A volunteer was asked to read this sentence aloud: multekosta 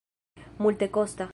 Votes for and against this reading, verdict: 2, 1, accepted